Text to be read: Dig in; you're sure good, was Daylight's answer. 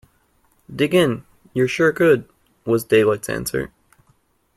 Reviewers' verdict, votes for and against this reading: accepted, 2, 0